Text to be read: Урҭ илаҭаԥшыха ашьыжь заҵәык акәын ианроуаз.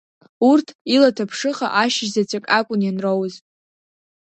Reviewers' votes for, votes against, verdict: 2, 0, accepted